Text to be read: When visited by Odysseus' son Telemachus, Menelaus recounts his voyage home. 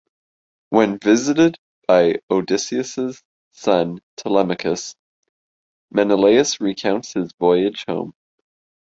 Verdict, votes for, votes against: accepted, 2, 0